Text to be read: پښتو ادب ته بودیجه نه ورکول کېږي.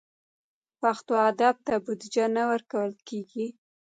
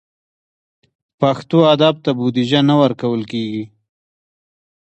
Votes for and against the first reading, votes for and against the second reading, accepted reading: 1, 2, 2, 1, second